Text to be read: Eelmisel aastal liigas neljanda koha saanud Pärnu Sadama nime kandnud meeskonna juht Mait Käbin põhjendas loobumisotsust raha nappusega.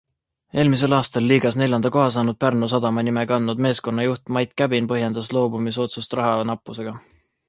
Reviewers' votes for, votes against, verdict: 2, 0, accepted